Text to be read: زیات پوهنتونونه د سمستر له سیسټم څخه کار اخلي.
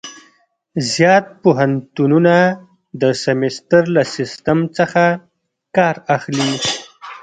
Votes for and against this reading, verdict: 1, 2, rejected